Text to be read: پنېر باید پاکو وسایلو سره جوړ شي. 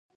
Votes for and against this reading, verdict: 1, 2, rejected